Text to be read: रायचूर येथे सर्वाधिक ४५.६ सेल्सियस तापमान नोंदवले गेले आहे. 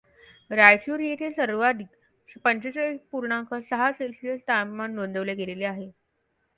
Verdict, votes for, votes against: rejected, 0, 2